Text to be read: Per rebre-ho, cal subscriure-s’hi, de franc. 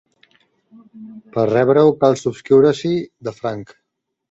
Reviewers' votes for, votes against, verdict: 1, 2, rejected